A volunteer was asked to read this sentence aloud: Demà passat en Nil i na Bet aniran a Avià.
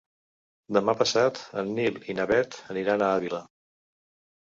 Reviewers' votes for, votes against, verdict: 0, 2, rejected